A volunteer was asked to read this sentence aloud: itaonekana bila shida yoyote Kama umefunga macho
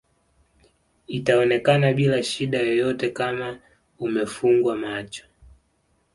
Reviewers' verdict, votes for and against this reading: accepted, 2, 0